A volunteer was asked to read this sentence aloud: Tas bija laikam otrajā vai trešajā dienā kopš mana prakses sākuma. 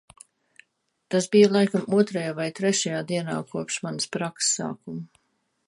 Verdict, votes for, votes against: rejected, 1, 2